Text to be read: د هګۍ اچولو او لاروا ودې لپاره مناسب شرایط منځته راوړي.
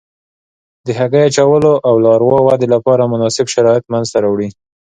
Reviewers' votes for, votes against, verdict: 2, 0, accepted